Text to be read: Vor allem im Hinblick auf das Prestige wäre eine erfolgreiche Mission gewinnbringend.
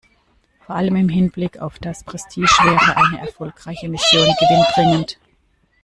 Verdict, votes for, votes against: rejected, 1, 2